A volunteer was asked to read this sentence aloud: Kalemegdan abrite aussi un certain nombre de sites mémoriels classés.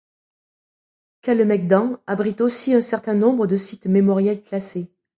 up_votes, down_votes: 2, 0